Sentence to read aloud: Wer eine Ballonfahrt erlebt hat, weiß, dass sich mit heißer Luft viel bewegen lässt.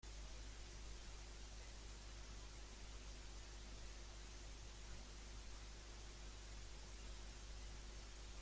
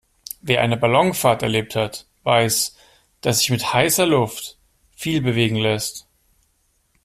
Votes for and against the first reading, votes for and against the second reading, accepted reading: 0, 2, 2, 0, second